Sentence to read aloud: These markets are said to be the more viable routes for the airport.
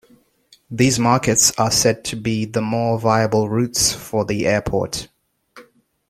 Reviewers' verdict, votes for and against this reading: accepted, 2, 0